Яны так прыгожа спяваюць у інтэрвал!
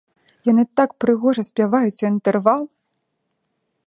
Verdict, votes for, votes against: accepted, 2, 0